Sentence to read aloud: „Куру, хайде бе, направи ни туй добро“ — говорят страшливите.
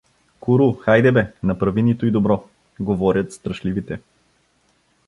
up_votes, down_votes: 2, 0